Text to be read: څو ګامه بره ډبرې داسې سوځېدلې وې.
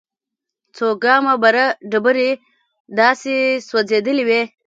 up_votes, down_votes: 1, 2